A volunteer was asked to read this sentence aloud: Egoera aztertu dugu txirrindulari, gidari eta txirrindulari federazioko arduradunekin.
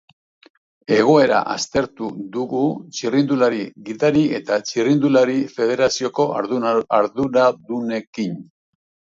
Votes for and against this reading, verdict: 0, 2, rejected